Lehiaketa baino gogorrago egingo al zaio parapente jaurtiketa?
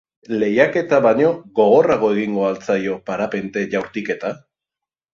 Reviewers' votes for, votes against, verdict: 2, 0, accepted